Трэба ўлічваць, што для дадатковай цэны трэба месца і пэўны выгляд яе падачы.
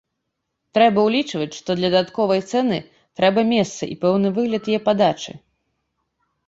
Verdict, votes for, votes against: rejected, 1, 2